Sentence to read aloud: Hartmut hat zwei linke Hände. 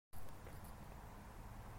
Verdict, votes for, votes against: rejected, 0, 2